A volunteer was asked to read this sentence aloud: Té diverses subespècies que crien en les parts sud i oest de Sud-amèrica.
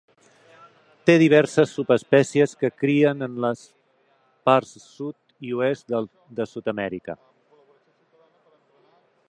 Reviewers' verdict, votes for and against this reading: rejected, 0, 3